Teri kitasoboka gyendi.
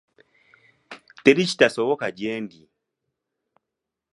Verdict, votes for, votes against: accepted, 2, 0